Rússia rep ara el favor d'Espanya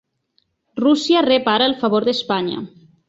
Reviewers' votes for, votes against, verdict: 2, 0, accepted